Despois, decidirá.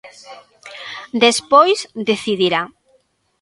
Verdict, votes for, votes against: accepted, 2, 0